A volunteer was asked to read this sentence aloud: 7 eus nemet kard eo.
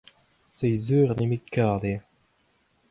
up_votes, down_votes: 0, 2